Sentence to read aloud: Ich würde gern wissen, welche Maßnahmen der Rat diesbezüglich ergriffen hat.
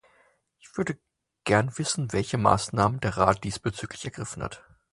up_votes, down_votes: 0, 4